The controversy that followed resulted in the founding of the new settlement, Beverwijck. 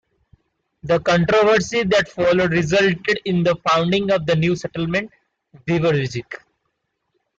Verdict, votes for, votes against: accepted, 2, 0